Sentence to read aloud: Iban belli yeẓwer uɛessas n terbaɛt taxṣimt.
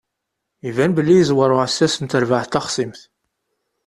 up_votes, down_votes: 2, 0